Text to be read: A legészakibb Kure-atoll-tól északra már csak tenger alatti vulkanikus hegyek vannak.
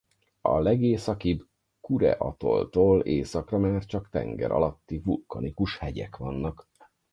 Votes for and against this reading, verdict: 2, 4, rejected